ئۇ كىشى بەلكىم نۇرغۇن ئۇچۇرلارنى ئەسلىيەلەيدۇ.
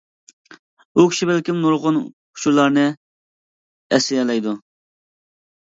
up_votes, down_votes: 2, 0